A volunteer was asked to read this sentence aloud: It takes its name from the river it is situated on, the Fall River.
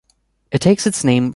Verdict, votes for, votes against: rejected, 0, 2